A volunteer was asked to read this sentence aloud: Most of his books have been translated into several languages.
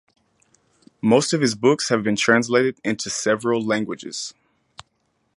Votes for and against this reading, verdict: 4, 0, accepted